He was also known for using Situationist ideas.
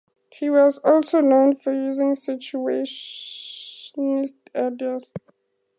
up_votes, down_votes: 2, 0